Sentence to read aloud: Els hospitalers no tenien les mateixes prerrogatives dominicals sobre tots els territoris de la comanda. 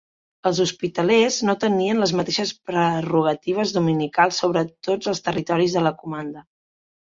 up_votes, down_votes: 2, 0